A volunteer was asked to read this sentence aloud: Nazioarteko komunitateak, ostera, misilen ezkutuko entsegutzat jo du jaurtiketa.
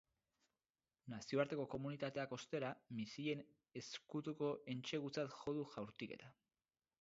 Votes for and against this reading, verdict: 2, 2, rejected